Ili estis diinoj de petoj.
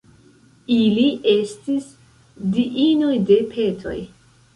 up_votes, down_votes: 0, 2